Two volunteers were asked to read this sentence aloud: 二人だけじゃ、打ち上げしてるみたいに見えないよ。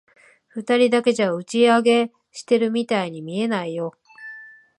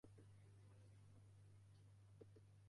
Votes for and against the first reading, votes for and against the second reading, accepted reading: 3, 0, 0, 2, first